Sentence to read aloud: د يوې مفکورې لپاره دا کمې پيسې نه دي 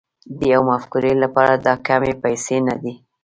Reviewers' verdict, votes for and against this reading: rejected, 1, 2